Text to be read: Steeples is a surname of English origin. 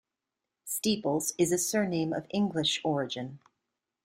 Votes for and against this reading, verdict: 2, 0, accepted